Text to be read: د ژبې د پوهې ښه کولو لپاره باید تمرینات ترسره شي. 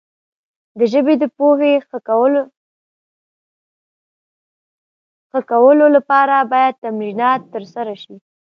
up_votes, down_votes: 1, 2